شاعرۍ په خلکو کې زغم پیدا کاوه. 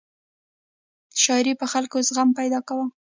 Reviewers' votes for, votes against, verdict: 1, 2, rejected